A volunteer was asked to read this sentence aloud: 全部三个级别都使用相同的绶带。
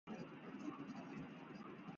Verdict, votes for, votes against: rejected, 0, 2